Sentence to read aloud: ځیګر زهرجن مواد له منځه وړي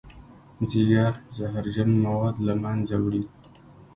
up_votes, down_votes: 1, 2